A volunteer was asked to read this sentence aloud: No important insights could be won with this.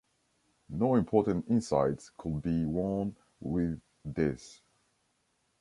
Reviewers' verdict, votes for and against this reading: rejected, 1, 2